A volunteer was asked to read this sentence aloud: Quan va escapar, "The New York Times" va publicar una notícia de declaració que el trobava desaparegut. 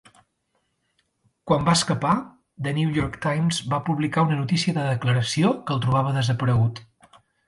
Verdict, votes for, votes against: accepted, 2, 0